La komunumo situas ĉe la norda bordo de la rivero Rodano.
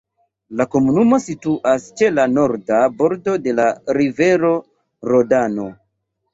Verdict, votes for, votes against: accepted, 2, 0